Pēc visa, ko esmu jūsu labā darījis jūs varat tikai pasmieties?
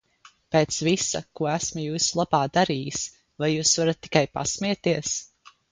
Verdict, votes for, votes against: rejected, 0, 2